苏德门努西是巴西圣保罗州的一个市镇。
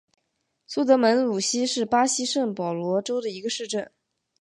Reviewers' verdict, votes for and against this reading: accepted, 3, 0